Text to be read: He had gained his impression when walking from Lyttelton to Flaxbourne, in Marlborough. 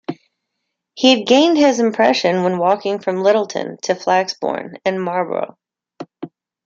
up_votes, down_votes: 1, 2